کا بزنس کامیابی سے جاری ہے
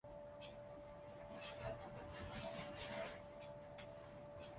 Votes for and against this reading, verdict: 0, 2, rejected